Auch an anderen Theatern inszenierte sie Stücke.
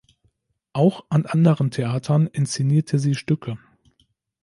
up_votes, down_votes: 2, 0